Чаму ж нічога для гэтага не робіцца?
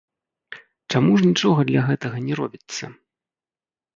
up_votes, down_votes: 1, 2